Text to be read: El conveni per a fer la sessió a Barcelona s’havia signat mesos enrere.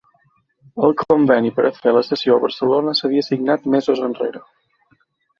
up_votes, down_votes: 0, 2